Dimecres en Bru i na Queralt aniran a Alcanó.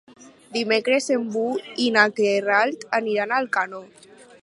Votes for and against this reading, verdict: 0, 4, rejected